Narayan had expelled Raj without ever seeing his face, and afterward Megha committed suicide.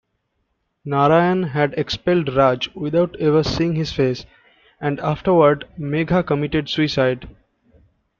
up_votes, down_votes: 2, 0